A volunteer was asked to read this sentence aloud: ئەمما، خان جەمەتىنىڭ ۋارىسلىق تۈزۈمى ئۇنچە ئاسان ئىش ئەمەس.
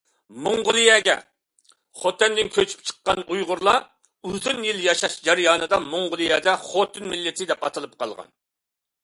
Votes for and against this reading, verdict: 0, 2, rejected